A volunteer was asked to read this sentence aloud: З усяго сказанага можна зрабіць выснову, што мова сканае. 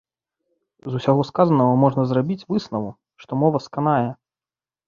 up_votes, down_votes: 1, 2